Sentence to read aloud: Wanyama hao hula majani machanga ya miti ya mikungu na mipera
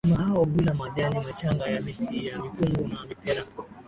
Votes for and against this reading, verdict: 3, 0, accepted